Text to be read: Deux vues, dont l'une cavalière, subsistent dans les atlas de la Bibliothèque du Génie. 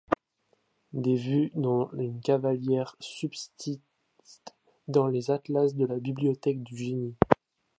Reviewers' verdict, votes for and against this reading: rejected, 0, 2